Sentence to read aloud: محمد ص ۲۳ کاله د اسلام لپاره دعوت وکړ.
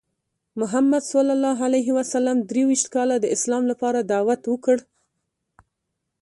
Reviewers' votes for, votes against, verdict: 0, 2, rejected